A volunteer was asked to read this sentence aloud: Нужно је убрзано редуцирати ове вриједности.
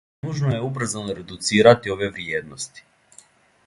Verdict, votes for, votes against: accepted, 2, 0